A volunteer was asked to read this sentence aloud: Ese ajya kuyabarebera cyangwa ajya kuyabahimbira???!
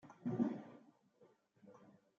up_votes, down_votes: 1, 2